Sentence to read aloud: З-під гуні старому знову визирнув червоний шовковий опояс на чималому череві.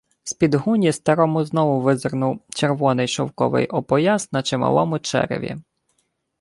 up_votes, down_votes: 2, 0